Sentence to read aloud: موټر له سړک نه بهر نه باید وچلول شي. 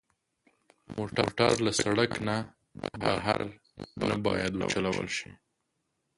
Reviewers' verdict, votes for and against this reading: rejected, 1, 2